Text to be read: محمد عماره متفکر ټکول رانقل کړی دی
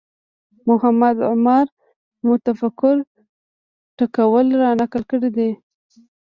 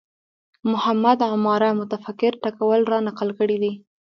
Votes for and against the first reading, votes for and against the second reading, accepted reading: 2, 0, 0, 2, first